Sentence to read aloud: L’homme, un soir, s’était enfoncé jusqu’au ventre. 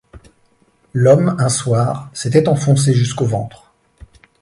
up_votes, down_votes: 2, 0